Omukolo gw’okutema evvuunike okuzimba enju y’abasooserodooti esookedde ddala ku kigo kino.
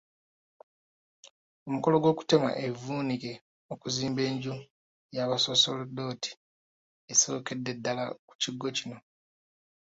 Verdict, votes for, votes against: rejected, 1, 2